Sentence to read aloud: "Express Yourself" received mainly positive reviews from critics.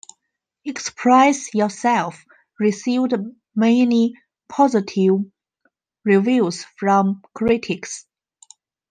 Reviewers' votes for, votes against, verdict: 2, 3, rejected